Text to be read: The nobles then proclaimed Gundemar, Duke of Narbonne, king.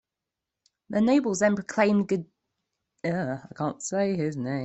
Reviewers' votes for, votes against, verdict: 0, 2, rejected